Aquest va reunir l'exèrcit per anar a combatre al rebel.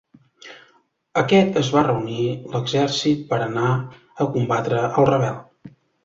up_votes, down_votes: 1, 2